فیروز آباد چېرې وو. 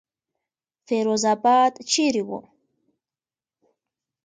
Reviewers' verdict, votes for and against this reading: accepted, 2, 1